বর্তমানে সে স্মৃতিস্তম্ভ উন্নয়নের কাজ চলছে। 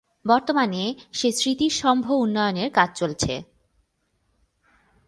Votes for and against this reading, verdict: 0, 2, rejected